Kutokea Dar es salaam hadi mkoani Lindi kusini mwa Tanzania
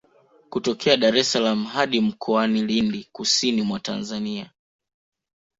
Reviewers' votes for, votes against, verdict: 2, 0, accepted